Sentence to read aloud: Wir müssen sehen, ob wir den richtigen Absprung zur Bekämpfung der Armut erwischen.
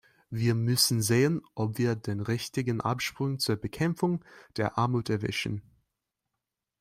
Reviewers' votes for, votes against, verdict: 2, 0, accepted